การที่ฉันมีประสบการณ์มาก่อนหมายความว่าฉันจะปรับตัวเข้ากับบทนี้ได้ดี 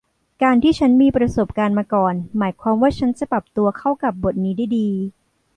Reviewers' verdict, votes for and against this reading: accepted, 2, 0